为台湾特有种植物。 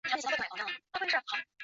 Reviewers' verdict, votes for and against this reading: rejected, 1, 2